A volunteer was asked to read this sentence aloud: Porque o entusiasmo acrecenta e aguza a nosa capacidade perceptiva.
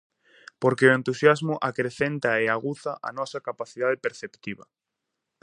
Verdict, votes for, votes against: accepted, 2, 0